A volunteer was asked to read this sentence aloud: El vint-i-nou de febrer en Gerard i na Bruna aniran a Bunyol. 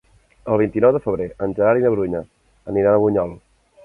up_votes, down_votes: 0, 2